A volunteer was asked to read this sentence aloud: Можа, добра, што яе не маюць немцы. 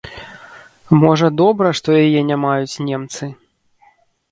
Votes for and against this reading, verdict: 2, 0, accepted